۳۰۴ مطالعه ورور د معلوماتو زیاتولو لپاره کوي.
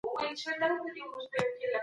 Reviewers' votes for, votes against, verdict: 0, 2, rejected